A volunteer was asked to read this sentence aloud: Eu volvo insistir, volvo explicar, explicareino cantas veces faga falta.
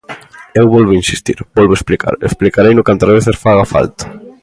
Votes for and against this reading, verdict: 1, 2, rejected